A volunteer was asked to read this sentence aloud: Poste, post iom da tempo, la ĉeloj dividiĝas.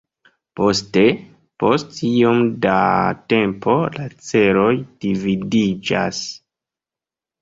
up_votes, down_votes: 2, 0